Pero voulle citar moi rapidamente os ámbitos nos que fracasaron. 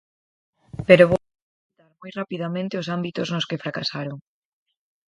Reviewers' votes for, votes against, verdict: 0, 4, rejected